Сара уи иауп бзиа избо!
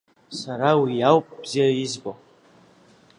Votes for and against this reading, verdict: 2, 0, accepted